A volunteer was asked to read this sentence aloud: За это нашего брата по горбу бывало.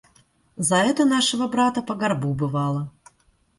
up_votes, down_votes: 2, 0